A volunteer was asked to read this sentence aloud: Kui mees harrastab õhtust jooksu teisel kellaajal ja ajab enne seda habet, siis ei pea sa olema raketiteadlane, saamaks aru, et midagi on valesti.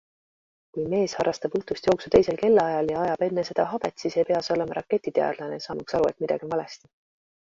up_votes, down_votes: 2, 1